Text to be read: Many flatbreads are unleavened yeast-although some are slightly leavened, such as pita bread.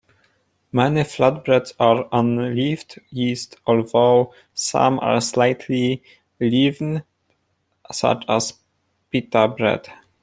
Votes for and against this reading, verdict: 1, 2, rejected